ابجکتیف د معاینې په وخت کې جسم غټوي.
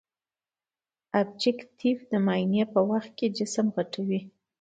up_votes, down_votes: 2, 0